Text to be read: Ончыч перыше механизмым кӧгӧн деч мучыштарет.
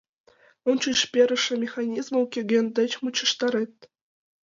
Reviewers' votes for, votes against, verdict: 2, 0, accepted